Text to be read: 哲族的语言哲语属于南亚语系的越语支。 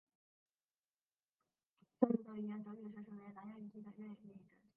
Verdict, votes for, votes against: rejected, 1, 2